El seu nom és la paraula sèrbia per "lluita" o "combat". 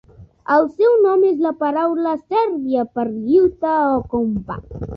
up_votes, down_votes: 1, 2